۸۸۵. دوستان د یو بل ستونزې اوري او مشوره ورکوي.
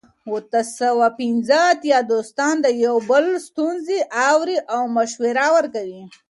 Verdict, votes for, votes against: rejected, 0, 2